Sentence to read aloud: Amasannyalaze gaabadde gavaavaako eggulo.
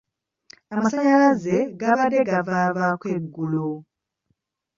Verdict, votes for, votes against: rejected, 1, 2